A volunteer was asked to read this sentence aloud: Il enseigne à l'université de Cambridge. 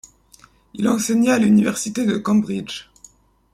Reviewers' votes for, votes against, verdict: 0, 2, rejected